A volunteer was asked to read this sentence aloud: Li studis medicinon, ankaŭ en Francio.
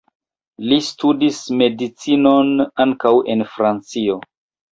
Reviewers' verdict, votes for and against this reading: rejected, 1, 2